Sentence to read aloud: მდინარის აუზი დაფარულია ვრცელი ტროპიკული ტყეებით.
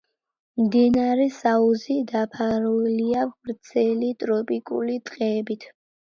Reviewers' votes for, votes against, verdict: 2, 1, accepted